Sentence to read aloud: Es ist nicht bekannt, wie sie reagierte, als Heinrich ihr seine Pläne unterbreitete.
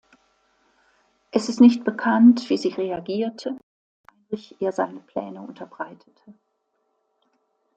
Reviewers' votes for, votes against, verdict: 0, 2, rejected